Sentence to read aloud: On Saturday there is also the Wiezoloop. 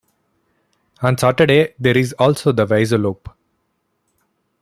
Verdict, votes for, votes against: accepted, 2, 1